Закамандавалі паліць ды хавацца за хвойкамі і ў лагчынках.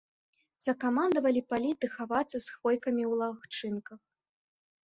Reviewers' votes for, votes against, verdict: 2, 0, accepted